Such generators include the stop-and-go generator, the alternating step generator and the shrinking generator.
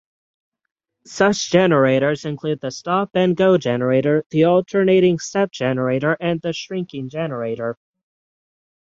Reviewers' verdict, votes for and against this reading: rejected, 3, 3